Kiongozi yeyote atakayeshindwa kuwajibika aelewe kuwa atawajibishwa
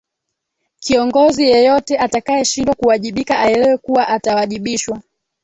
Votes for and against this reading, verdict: 1, 3, rejected